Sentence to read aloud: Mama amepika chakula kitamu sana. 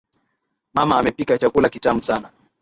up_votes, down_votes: 10, 0